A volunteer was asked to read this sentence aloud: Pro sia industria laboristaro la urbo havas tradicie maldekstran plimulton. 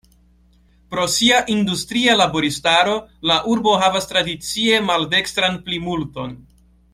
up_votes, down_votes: 2, 0